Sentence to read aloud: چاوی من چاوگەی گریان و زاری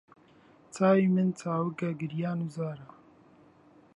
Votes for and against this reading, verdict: 0, 2, rejected